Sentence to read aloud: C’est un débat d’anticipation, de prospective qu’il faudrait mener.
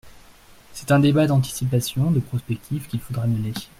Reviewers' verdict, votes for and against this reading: accepted, 2, 0